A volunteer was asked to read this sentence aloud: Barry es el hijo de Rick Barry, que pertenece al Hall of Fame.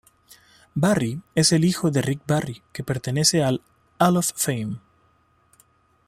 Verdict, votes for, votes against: rejected, 1, 2